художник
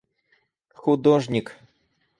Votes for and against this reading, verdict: 4, 0, accepted